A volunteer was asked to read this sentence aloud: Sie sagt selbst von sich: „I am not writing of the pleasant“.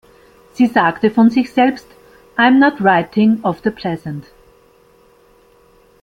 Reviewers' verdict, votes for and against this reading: rejected, 1, 2